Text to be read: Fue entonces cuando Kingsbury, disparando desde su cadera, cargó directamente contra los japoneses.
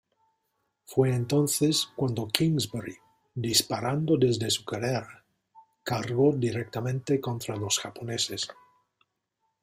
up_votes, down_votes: 1, 2